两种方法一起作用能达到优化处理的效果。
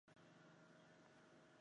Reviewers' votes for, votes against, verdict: 1, 3, rejected